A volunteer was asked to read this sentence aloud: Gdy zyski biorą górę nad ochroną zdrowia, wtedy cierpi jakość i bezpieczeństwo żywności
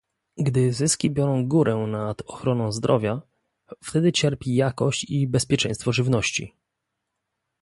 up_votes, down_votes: 2, 0